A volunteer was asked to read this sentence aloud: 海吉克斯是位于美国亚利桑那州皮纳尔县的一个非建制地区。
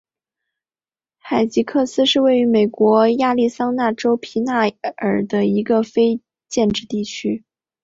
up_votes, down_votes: 2, 3